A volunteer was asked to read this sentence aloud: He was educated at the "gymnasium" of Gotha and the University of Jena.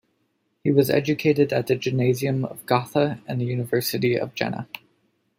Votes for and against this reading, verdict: 2, 0, accepted